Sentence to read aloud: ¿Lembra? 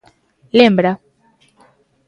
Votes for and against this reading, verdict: 2, 0, accepted